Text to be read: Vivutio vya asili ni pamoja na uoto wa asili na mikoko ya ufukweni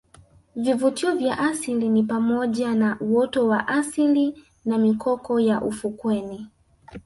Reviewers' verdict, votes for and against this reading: rejected, 1, 2